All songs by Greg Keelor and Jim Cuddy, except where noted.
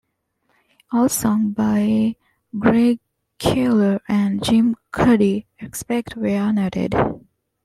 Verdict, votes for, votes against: rejected, 0, 2